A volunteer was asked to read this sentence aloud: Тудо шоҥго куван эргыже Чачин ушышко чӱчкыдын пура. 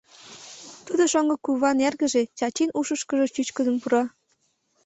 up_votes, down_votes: 0, 2